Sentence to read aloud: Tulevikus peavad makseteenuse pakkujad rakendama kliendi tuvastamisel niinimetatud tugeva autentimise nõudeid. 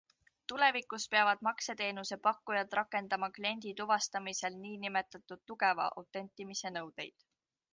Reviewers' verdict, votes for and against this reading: accepted, 2, 0